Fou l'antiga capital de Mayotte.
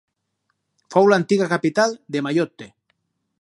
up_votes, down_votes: 2, 2